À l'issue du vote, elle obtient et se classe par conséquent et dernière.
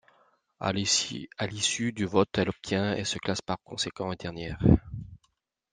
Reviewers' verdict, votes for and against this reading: rejected, 0, 2